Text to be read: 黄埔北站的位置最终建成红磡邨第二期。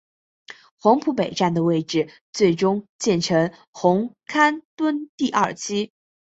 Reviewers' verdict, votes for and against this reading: accepted, 5, 1